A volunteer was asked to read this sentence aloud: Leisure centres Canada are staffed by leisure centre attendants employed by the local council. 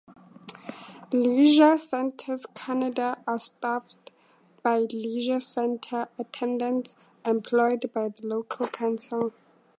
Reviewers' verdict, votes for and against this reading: accepted, 2, 0